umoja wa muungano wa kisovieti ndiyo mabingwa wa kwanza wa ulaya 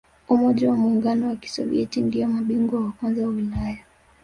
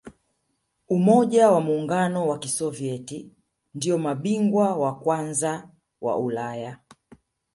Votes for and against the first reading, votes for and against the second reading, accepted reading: 1, 2, 2, 0, second